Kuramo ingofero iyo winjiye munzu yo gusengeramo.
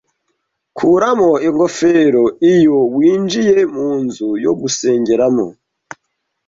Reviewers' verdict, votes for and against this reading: accepted, 2, 0